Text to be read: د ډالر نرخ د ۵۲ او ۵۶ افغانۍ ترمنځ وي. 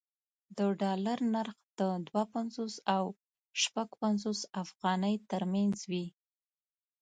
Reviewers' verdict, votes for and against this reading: rejected, 0, 2